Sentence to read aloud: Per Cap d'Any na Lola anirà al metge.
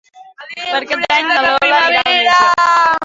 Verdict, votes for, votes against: rejected, 0, 2